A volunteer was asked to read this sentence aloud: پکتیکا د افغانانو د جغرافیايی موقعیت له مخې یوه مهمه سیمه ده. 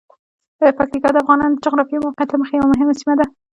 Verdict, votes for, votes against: rejected, 0, 2